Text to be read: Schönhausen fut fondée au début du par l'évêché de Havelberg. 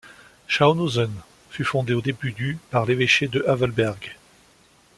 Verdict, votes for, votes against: accepted, 2, 1